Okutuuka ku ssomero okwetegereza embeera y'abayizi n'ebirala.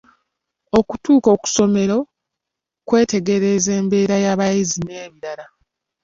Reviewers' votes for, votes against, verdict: 1, 2, rejected